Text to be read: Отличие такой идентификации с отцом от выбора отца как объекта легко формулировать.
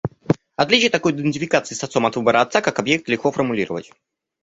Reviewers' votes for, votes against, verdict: 2, 0, accepted